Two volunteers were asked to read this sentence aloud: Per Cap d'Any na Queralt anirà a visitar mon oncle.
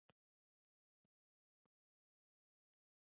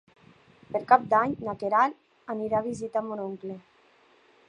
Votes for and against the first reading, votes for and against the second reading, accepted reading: 0, 4, 3, 0, second